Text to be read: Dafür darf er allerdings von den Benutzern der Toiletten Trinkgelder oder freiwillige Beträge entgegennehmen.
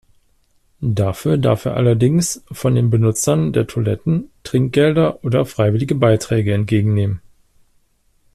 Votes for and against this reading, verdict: 0, 2, rejected